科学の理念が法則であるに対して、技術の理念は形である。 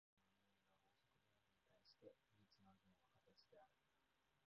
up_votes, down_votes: 0, 3